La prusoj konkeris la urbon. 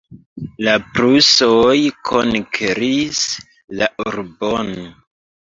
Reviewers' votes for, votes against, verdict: 0, 2, rejected